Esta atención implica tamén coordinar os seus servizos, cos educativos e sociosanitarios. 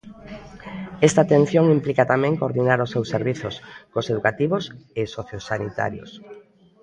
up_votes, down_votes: 2, 0